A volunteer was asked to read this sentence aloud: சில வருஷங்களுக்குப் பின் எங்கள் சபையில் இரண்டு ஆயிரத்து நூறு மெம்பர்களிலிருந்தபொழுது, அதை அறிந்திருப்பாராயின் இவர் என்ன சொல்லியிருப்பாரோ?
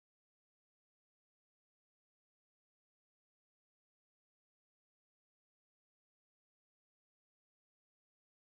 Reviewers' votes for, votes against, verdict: 1, 2, rejected